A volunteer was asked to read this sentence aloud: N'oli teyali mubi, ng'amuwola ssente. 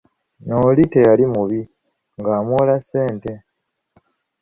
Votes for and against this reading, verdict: 1, 2, rejected